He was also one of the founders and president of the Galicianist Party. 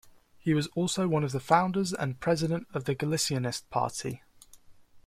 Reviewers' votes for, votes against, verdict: 3, 0, accepted